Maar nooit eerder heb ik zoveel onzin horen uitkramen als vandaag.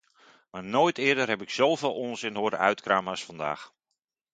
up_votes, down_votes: 2, 0